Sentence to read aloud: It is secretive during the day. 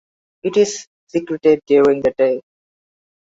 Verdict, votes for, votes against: accepted, 2, 0